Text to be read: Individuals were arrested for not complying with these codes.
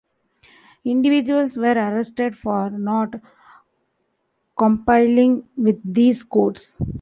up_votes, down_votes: 0, 2